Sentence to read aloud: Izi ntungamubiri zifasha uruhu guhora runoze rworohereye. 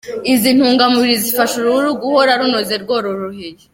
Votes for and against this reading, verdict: 2, 0, accepted